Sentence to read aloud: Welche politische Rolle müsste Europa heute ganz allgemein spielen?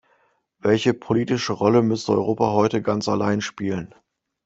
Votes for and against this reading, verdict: 0, 2, rejected